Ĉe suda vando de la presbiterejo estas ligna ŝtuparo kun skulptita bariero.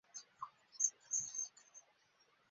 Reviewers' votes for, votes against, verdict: 0, 2, rejected